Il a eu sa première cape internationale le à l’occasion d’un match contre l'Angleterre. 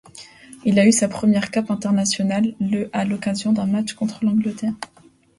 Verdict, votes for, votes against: accepted, 2, 0